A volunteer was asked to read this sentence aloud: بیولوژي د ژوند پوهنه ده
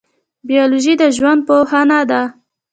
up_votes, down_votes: 1, 2